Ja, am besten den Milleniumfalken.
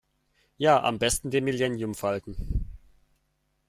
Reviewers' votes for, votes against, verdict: 0, 2, rejected